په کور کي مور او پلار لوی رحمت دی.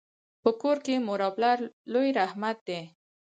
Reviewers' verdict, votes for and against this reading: accepted, 4, 2